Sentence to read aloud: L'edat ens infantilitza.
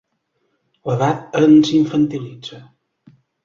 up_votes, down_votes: 3, 0